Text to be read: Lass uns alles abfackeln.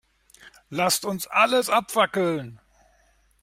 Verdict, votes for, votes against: rejected, 1, 2